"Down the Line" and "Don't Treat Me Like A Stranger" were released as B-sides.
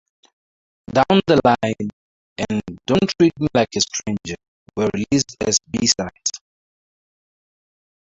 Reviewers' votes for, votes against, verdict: 0, 2, rejected